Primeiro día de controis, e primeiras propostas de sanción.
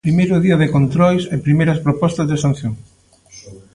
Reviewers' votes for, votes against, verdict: 2, 0, accepted